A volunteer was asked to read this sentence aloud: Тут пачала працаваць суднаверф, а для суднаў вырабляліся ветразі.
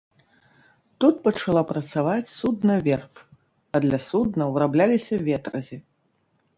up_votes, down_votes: 1, 2